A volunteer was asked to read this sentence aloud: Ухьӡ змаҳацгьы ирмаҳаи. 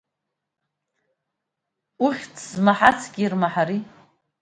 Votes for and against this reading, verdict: 1, 2, rejected